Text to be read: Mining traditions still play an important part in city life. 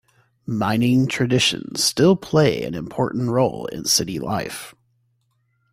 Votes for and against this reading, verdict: 1, 2, rejected